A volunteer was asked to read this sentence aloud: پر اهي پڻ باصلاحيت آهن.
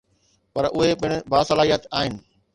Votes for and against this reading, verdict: 2, 0, accepted